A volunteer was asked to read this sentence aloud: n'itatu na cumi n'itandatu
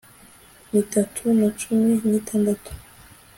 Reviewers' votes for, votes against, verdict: 2, 0, accepted